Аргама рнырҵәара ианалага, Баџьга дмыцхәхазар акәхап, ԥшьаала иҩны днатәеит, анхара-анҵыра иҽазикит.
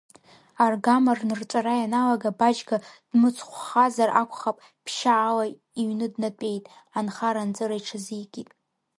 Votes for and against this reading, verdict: 0, 2, rejected